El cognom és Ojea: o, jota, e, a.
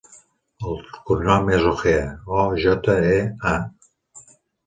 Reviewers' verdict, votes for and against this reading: accepted, 2, 1